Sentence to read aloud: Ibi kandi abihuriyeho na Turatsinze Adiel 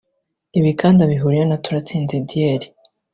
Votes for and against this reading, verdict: 2, 0, accepted